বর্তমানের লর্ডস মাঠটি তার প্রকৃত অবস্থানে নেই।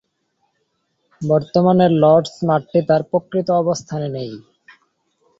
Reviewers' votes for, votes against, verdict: 1, 2, rejected